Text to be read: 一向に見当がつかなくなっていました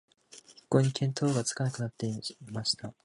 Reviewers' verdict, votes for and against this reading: rejected, 1, 2